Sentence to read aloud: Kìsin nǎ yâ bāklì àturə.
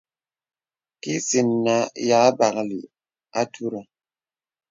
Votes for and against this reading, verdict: 2, 0, accepted